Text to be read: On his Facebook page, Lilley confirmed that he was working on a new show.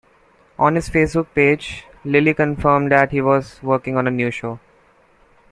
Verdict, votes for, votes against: accepted, 2, 0